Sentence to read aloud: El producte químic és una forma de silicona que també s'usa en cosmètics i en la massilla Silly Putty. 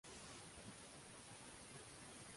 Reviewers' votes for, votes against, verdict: 0, 2, rejected